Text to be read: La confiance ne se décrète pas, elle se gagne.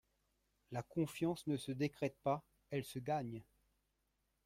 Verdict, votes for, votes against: rejected, 1, 2